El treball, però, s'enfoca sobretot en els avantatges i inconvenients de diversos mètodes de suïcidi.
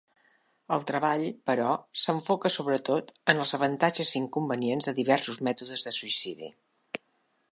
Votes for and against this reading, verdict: 2, 0, accepted